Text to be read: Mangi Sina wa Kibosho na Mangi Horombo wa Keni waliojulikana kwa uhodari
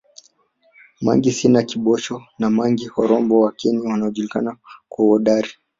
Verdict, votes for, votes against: rejected, 0, 3